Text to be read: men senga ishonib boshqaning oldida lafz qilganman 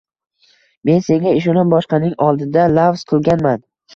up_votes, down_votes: 1, 2